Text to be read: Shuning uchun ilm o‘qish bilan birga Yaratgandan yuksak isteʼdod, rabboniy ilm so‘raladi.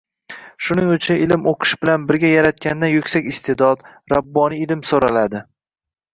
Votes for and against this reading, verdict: 1, 2, rejected